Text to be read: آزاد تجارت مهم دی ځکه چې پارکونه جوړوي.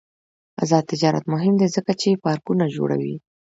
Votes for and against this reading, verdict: 1, 2, rejected